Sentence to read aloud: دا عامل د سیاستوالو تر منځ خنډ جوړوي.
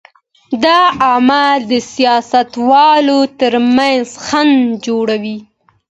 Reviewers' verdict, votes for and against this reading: accepted, 2, 1